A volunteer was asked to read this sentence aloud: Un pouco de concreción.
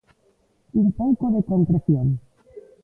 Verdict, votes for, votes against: rejected, 1, 2